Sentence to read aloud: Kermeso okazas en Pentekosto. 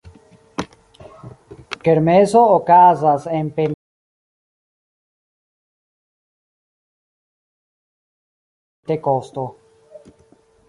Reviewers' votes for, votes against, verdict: 1, 2, rejected